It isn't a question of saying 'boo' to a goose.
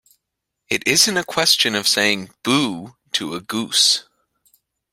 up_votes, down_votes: 2, 0